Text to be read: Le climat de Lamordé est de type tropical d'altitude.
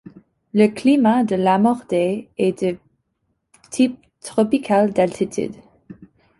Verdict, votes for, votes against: accepted, 2, 1